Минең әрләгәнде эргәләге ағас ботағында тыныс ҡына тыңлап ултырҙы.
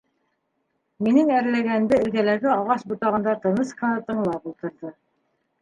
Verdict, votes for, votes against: accepted, 2, 0